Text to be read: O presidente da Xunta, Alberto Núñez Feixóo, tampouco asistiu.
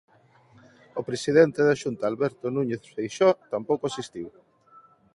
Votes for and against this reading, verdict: 1, 2, rejected